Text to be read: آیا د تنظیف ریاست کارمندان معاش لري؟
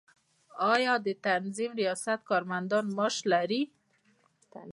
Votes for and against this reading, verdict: 2, 0, accepted